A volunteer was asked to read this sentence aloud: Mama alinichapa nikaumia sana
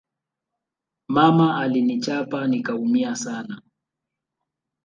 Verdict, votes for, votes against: rejected, 0, 2